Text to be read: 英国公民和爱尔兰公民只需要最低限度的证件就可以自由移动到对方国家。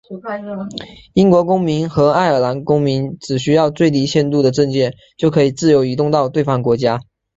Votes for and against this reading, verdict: 3, 0, accepted